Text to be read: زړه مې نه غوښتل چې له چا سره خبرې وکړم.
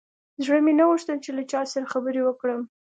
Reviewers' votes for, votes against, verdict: 2, 0, accepted